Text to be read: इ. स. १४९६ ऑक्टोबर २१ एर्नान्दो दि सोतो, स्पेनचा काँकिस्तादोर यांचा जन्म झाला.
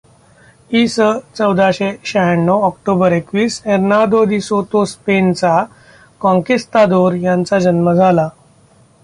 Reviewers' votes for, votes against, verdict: 0, 2, rejected